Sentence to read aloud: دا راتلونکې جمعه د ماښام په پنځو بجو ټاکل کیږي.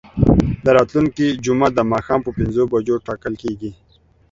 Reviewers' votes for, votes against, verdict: 2, 0, accepted